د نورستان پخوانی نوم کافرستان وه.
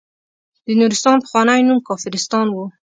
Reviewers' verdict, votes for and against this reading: accepted, 2, 0